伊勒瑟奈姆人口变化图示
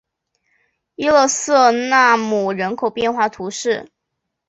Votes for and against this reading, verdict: 4, 0, accepted